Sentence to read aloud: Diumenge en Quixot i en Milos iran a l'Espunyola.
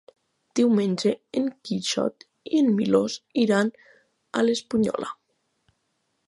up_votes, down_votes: 3, 0